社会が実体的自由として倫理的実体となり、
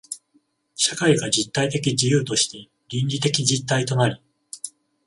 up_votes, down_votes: 14, 0